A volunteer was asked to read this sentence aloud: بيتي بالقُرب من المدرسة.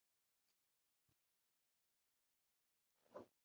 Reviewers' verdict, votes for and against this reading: rejected, 0, 3